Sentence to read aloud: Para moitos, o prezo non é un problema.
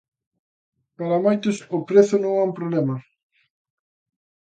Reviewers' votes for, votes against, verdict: 2, 0, accepted